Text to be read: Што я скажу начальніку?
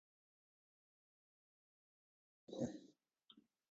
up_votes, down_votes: 0, 2